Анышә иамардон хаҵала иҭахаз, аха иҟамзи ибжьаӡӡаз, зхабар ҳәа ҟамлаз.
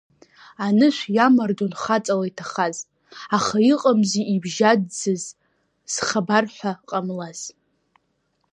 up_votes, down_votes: 2, 0